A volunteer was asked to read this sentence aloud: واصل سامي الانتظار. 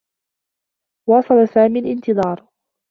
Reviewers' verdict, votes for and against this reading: accepted, 2, 0